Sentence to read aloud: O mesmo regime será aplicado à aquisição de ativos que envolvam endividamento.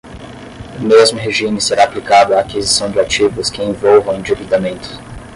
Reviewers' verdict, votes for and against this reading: rejected, 5, 5